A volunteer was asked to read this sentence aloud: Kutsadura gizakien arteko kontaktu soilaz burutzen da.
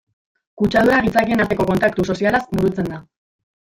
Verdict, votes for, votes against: rejected, 1, 2